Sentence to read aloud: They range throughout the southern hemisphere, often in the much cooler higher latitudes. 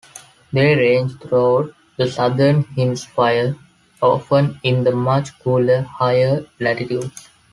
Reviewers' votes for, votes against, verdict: 0, 2, rejected